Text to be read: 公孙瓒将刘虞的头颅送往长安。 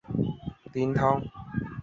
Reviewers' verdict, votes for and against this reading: rejected, 0, 2